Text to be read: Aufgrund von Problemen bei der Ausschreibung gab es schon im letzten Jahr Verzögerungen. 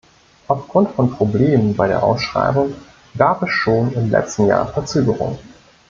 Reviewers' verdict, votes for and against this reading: rejected, 0, 2